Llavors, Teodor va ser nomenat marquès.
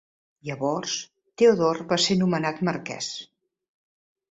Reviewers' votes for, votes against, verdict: 2, 0, accepted